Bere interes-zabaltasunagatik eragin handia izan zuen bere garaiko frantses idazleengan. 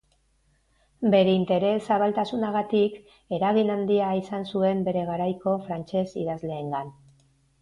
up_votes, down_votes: 2, 0